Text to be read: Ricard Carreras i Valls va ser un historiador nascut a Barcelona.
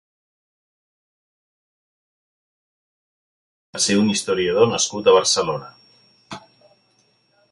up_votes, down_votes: 0, 2